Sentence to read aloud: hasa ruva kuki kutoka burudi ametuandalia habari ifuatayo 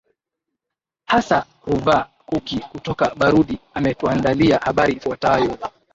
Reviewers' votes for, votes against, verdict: 1, 2, rejected